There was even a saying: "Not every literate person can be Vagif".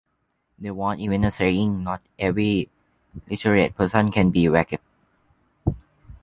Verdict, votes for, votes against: rejected, 1, 2